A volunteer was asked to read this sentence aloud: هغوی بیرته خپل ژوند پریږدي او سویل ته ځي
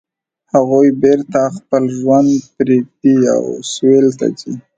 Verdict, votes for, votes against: accepted, 2, 0